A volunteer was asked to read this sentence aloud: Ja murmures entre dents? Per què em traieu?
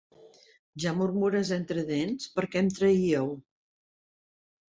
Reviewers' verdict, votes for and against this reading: rejected, 1, 2